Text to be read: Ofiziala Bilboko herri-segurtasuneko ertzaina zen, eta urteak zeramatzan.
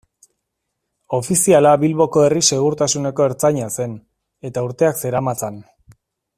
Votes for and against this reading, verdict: 2, 0, accepted